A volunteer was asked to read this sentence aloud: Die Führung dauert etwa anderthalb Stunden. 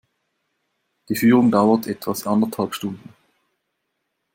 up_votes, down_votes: 1, 2